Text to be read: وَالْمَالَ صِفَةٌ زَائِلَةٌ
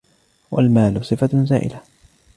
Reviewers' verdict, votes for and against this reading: accepted, 2, 0